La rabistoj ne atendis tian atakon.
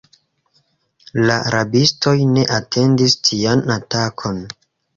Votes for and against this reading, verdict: 1, 2, rejected